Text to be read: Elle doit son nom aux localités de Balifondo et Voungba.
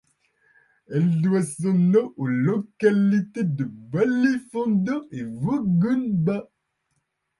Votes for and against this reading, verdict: 1, 2, rejected